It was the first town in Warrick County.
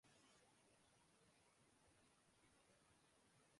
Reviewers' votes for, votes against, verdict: 0, 2, rejected